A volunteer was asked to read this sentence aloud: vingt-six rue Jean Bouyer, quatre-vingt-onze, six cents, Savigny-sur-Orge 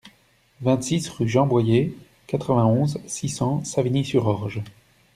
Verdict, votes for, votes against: rejected, 0, 2